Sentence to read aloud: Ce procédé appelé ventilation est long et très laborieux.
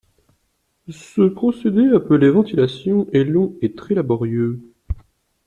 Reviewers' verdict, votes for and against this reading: accepted, 2, 0